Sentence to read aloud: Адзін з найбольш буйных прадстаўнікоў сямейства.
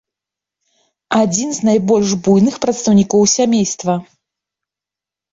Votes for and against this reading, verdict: 0, 2, rejected